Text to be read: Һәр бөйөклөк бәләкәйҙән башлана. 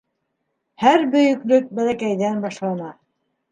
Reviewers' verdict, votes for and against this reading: accepted, 2, 0